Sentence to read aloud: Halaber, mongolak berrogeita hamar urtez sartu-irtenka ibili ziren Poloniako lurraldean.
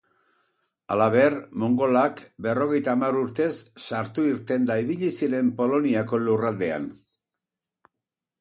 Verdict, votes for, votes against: rejected, 0, 4